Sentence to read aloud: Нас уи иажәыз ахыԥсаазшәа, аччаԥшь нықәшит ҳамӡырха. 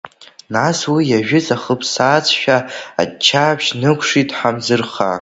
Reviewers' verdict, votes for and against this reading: rejected, 1, 2